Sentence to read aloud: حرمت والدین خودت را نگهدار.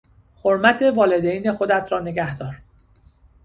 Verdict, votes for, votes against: accepted, 2, 0